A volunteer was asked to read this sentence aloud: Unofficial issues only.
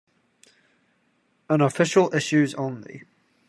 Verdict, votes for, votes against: accepted, 2, 0